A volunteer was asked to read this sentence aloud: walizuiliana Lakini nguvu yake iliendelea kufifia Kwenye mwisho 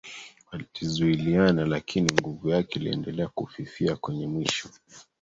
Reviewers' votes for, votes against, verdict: 1, 2, rejected